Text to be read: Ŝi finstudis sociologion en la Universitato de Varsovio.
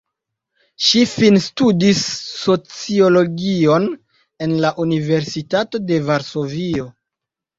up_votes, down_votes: 2, 1